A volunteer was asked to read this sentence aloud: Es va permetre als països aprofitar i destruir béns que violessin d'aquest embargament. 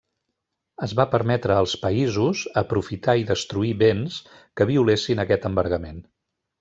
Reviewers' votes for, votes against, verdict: 2, 0, accepted